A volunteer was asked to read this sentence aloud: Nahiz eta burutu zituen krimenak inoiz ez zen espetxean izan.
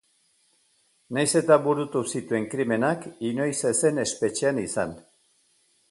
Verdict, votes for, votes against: accepted, 2, 0